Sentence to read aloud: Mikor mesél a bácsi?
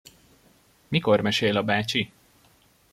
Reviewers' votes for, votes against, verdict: 2, 0, accepted